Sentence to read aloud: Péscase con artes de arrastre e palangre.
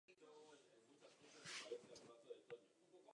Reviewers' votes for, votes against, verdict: 0, 2, rejected